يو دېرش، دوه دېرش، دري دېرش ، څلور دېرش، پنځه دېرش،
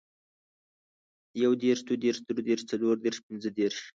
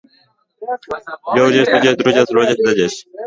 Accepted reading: first